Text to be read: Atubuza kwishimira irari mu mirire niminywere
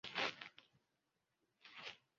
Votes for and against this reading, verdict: 0, 2, rejected